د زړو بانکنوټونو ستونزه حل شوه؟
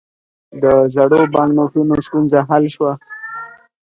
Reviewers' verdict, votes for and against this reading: accepted, 2, 0